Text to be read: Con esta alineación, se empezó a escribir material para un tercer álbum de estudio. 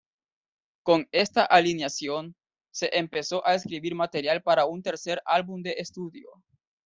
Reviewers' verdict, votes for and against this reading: accepted, 2, 0